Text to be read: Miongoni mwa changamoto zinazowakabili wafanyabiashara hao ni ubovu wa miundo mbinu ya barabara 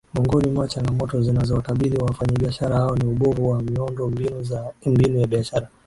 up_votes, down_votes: 0, 2